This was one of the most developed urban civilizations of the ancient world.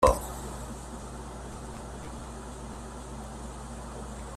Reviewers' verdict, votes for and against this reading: rejected, 0, 2